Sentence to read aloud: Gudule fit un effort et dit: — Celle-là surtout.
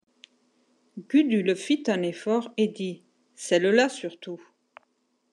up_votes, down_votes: 2, 0